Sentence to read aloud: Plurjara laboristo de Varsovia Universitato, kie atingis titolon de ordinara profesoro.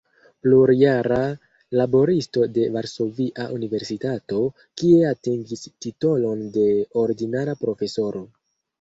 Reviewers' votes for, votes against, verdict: 1, 2, rejected